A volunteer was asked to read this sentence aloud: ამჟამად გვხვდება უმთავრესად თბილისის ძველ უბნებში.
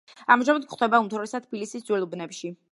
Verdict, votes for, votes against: rejected, 1, 2